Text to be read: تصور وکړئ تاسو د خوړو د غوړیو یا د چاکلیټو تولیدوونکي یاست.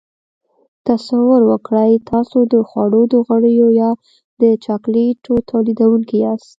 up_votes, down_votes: 2, 0